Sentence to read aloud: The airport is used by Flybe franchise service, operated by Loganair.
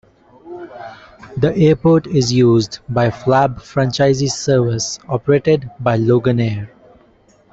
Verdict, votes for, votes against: rejected, 0, 2